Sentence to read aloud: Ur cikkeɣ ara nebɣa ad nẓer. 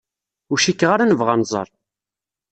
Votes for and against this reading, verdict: 2, 0, accepted